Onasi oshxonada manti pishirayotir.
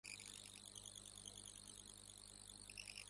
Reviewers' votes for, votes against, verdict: 0, 2, rejected